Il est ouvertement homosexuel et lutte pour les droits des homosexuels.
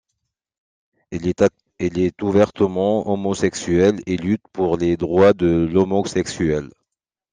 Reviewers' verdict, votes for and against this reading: rejected, 0, 2